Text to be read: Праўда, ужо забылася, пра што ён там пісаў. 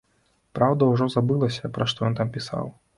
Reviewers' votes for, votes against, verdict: 2, 0, accepted